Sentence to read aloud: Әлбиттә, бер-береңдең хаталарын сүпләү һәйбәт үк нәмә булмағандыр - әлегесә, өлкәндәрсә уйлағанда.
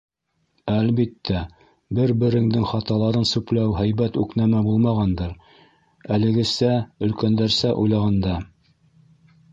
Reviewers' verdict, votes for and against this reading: accepted, 2, 0